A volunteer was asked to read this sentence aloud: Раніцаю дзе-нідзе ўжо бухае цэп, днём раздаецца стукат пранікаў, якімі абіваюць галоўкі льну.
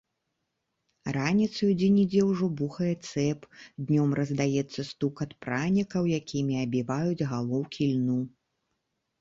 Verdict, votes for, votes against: accepted, 2, 0